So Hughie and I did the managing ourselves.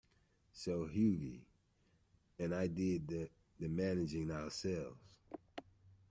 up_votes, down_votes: 1, 2